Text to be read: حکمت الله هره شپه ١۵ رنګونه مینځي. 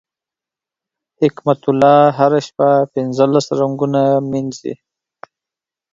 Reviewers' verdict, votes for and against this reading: rejected, 0, 2